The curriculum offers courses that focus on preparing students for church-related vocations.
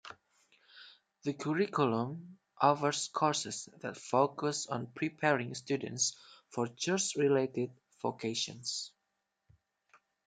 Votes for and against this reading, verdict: 0, 2, rejected